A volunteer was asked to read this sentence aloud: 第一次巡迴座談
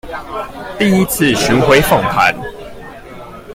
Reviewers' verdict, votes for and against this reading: rejected, 0, 2